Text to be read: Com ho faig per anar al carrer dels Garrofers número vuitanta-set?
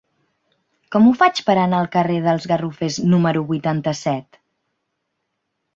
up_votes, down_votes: 4, 0